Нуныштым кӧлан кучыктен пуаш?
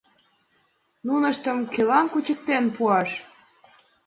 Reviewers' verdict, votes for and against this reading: accepted, 6, 0